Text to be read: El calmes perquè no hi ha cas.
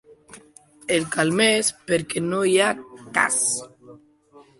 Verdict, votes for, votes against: rejected, 1, 2